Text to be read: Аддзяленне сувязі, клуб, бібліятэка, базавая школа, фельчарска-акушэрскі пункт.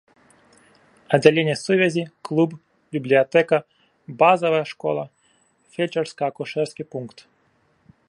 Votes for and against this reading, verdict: 2, 0, accepted